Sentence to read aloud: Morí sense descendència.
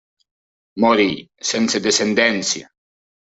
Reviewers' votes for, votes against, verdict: 0, 2, rejected